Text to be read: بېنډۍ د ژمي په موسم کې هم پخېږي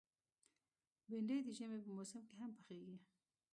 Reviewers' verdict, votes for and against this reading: rejected, 1, 2